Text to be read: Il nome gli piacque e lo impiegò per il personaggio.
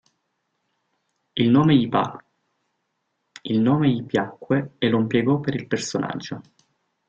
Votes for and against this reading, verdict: 1, 2, rejected